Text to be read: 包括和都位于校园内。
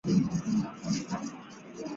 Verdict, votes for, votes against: rejected, 0, 2